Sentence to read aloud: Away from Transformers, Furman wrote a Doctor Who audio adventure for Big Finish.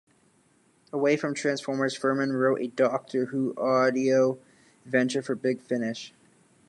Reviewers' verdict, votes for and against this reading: accepted, 2, 1